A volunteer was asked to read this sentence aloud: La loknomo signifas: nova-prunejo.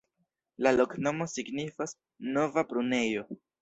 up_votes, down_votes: 1, 2